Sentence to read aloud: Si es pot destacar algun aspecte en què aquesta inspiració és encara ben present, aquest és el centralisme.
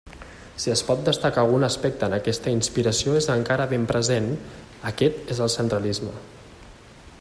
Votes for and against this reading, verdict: 0, 2, rejected